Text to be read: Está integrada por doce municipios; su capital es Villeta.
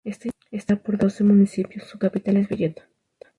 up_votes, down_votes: 0, 2